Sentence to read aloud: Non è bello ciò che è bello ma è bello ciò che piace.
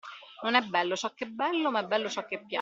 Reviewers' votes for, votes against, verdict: 0, 2, rejected